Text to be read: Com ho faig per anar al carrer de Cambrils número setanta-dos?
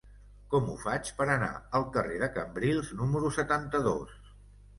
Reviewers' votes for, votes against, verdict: 2, 0, accepted